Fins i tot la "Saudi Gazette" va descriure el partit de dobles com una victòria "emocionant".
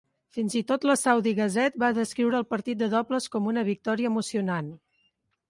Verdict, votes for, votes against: accepted, 3, 0